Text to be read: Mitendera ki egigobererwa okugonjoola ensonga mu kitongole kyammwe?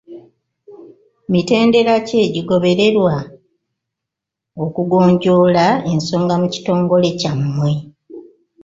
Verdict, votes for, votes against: rejected, 1, 2